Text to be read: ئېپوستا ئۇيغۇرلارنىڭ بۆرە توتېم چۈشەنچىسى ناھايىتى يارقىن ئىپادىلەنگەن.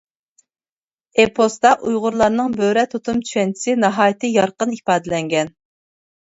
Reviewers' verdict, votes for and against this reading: rejected, 1, 2